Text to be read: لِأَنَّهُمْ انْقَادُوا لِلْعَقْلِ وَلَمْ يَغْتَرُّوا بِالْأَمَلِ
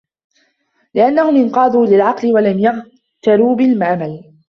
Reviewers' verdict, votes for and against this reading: rejected, 0, 2